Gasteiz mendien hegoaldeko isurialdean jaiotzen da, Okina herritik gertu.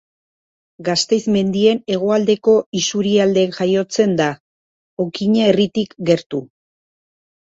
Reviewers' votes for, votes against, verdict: 1, 2, rejected